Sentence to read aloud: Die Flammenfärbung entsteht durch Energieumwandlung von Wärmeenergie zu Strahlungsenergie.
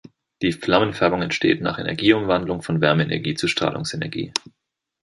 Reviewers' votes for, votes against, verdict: 0, 2, rejected